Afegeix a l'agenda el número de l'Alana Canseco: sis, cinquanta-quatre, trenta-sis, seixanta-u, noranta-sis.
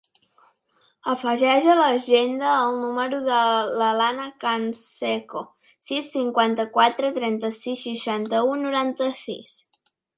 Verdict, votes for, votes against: accepted, 2, 0